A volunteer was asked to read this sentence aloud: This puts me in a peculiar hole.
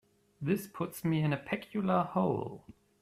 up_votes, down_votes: 1, 2